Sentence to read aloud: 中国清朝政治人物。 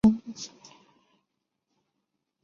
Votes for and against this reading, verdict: 1, 2, rejected